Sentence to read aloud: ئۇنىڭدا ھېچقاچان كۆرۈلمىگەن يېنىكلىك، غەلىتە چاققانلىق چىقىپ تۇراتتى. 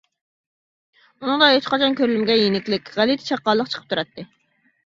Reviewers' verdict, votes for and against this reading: accepted, 2, 0